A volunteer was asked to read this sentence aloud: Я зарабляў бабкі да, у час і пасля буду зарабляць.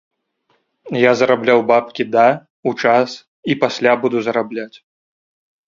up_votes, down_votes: 2, 0